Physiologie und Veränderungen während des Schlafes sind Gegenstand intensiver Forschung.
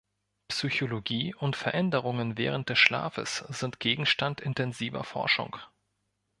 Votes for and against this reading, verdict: 1, 2, rejected